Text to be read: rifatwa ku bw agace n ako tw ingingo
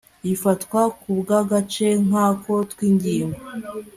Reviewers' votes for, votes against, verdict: 2, 0, accepted